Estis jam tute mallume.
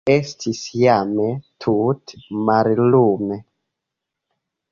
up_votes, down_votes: 2, 1